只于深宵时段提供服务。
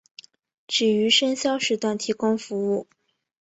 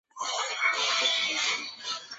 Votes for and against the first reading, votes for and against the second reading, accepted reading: 4, 0, 0, 2, first